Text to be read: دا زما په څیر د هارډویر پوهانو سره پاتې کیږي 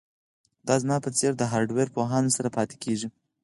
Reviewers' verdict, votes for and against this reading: rejected, 2, 4